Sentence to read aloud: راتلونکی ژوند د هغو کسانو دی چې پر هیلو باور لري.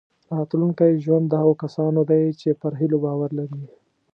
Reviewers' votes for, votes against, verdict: 2, 0, accepted